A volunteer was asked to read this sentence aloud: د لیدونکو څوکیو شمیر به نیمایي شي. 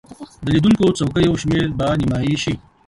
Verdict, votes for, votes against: accepted, 2, 1